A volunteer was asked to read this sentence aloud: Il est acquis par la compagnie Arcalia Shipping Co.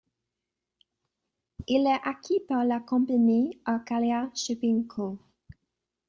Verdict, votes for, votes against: accepted, 2, 0